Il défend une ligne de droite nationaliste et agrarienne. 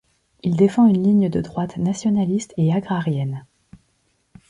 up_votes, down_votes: 2, 0